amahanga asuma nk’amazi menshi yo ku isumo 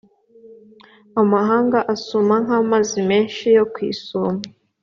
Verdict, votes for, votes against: accepted, 3, 0